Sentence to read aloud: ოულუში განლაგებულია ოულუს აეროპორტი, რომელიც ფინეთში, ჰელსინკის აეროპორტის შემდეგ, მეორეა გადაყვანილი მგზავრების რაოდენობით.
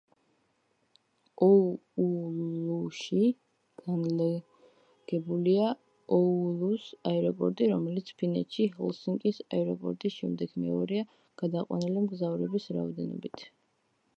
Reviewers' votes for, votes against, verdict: 1, 2, rejected